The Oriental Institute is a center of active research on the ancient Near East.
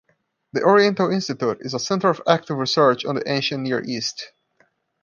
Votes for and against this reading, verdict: 2, 0, accepted